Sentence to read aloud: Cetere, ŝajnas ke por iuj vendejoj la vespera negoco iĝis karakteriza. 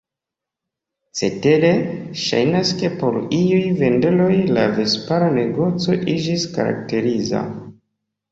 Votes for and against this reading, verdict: 1, 2, rejected